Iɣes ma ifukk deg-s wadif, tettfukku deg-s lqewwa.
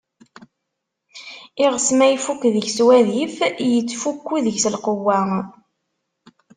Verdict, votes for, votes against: rejected, 1, 2